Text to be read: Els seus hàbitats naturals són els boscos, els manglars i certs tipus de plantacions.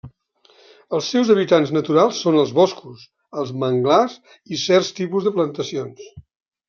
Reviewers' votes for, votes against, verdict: 1, 2, rejected